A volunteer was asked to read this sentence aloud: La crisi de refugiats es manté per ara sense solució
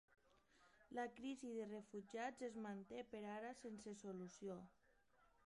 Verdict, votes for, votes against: rejected, 0, 2